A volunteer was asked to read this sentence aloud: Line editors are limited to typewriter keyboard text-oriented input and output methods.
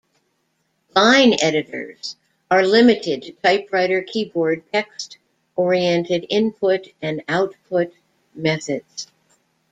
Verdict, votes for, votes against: accepted, 2, 0